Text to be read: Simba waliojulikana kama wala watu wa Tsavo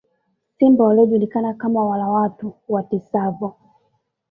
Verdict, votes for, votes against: rejected, 1, 2